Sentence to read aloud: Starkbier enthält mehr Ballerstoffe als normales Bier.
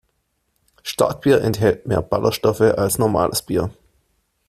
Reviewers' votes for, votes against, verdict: 2, 1, accepted